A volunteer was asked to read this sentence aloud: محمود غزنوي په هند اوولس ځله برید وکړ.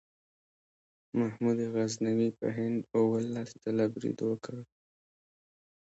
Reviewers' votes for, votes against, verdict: 2, 1, accepted